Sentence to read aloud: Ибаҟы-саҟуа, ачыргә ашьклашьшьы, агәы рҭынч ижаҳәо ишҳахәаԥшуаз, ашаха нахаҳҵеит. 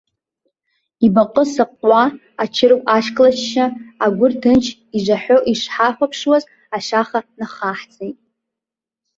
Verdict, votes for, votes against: accepted, 2, 0